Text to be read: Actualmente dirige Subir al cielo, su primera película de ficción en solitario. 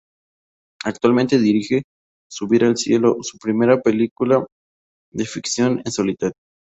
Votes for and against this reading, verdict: 2, 2, rejected